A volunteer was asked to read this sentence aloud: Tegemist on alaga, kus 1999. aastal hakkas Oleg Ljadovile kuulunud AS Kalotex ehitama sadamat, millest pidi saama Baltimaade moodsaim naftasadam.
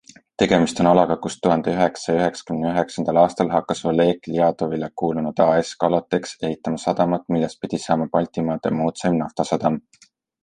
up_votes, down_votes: 0, 2